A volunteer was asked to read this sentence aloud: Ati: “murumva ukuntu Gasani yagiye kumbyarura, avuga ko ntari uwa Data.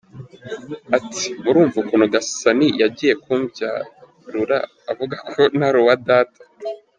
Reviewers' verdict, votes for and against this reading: accepted, 2, 0